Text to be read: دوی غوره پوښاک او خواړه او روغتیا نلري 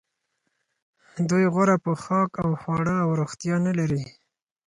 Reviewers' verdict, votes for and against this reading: accepted, 4, 0